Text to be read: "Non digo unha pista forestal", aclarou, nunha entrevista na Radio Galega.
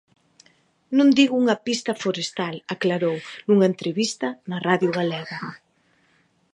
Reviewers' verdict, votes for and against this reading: accepted, 2, 0